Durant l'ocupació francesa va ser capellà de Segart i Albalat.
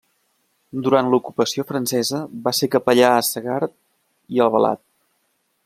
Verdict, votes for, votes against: rejected, 1, 2